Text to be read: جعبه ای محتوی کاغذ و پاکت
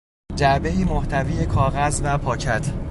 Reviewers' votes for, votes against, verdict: 2, 0, accepted